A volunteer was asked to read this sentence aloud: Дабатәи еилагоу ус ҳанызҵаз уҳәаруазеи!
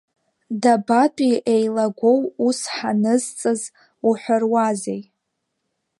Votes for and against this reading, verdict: 3, 5, rejected